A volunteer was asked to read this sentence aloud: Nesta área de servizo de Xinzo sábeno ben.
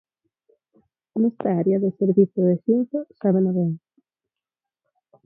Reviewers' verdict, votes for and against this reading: rejected, 2, 6